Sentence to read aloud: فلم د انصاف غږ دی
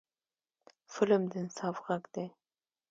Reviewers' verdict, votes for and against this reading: accepted, 2, 0